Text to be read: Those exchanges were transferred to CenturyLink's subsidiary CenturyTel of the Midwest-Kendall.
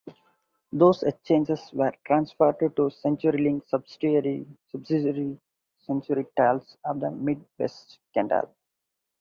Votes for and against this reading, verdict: 0, 2, rejected